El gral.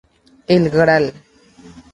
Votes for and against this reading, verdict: 2, 0, accepted